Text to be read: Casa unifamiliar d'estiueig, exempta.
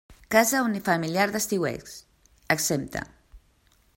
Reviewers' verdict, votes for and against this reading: accepted, 2, 1